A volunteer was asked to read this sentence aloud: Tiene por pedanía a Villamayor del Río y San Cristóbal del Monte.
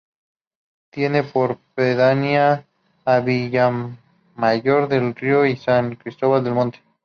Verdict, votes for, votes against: rejected, 2, 2